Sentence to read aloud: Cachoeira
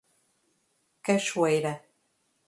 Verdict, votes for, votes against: rejected, 1, 2